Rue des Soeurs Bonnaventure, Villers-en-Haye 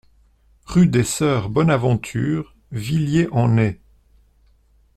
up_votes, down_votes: 0, 2